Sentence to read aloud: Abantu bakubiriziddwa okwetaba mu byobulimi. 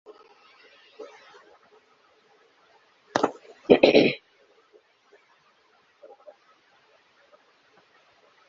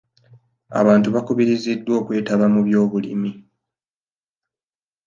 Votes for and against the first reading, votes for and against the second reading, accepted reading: 0, 2, 2, 0, second